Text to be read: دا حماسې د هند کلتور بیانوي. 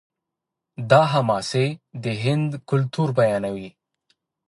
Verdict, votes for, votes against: accepted, 2, 1